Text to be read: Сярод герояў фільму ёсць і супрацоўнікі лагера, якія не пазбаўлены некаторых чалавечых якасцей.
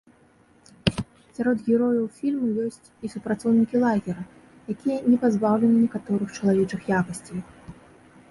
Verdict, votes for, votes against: accepted, 3, 0